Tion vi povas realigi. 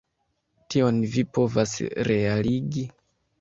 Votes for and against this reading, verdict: 1, 2, rejected